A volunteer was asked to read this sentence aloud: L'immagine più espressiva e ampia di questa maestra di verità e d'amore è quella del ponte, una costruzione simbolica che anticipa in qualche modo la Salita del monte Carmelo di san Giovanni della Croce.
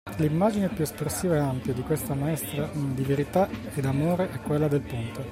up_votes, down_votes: 0, 2